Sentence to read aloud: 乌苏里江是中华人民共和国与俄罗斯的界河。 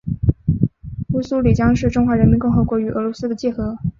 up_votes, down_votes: 2, 0